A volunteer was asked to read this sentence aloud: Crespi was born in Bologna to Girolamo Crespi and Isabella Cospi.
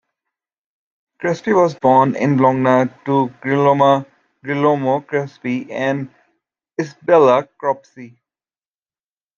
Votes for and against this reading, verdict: 0, 2, rejected